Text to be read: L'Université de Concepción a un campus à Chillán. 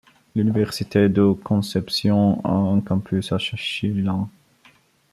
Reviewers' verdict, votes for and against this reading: rejected, 0, 2